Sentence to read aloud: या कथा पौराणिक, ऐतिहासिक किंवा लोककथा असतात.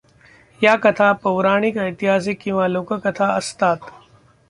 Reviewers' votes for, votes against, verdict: 2, 0, accepted